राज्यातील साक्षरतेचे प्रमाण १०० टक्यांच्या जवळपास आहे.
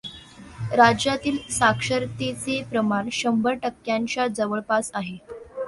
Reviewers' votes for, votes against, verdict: 0, 2, rejected